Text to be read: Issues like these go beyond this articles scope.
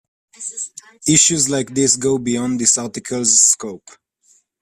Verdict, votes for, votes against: accepted, 2, 0